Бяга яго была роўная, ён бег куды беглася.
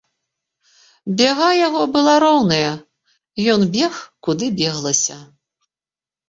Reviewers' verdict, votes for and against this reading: accepted, 2, 0